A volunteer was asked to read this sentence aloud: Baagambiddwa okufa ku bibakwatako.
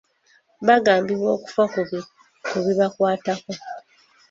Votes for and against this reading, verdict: 0, 2, rejected